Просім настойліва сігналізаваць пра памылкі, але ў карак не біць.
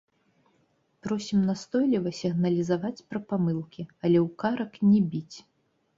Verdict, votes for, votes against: rejected, 1, 2